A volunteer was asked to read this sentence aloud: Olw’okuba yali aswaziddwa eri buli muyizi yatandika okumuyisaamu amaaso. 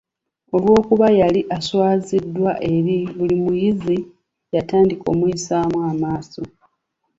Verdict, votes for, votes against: accepted, 2, 0